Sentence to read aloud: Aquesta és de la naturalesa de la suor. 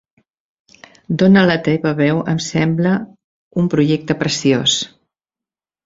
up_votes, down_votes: 1, 2